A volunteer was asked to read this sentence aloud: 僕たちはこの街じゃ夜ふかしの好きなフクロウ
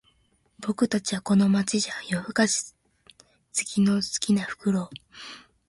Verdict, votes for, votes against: rejected, 0, 2